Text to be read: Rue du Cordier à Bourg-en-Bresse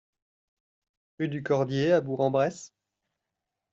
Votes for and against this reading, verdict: 0, 2, rejected